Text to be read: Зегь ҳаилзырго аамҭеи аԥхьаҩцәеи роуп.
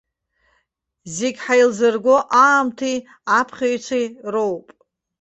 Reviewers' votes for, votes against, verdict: 1, 2, rejected